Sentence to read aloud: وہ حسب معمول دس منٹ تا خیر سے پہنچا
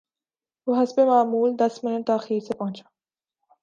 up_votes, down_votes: 3, 0